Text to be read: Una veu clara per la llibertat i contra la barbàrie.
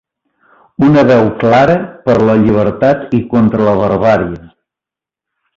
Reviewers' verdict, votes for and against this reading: accepted, 2, 0